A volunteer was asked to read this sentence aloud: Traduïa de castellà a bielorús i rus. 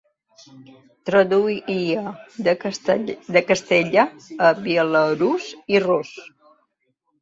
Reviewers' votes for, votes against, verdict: 0, 2, rejected